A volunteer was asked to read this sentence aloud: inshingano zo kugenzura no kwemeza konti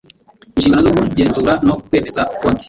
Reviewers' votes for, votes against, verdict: 2, 0, accepted